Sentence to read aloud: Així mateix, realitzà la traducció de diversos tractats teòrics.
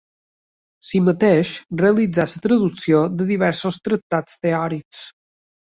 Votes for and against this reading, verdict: 2, 3, rejected